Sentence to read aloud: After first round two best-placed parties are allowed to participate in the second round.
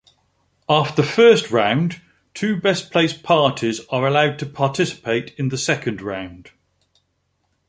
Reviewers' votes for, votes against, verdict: 2, 1, accepted